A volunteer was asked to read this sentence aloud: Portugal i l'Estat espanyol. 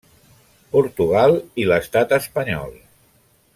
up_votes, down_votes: 3, 0